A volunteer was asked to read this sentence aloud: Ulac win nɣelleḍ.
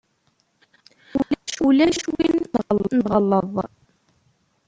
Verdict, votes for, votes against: rejected, 0, 2